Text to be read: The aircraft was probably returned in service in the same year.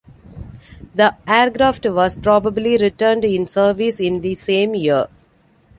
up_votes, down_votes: 2, 0